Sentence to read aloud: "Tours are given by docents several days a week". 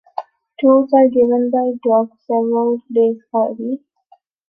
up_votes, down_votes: 0, 2